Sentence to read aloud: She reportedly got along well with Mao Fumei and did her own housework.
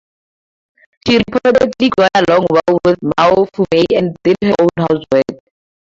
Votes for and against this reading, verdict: 2, 2, rejected